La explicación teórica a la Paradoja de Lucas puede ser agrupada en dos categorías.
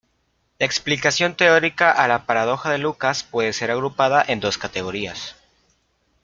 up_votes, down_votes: 0, 2